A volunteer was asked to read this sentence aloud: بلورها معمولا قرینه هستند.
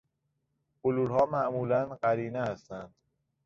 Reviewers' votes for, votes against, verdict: 2, 0, accepted